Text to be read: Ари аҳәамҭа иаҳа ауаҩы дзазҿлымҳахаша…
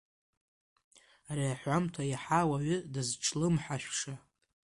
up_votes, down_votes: 0, 2